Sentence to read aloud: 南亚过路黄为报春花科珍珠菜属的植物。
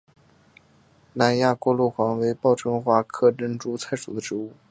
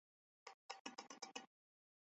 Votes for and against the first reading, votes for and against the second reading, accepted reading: 2, 1, 0, 3, first